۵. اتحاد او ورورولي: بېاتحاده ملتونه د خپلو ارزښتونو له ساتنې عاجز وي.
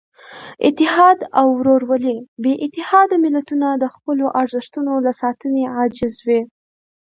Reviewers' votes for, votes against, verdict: 0, 2, rejected